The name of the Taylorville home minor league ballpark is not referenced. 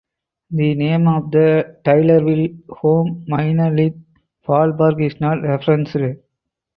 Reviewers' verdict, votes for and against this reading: rejected, 0, 4